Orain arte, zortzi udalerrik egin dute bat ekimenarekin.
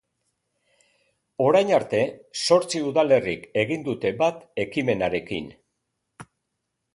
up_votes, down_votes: 2, 0